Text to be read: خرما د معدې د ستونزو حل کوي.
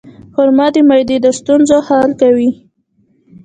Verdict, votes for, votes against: rejected, 1, 2